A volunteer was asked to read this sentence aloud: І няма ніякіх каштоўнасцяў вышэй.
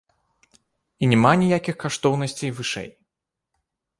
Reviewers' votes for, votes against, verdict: 1, 2, rejected